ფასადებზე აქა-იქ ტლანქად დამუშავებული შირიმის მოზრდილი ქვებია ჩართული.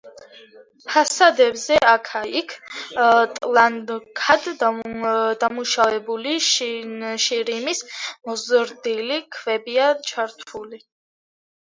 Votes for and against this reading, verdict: 0, 2, rejected